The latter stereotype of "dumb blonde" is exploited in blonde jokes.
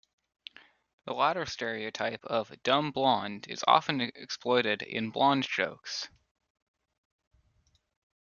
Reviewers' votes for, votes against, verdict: 0, 2, rejected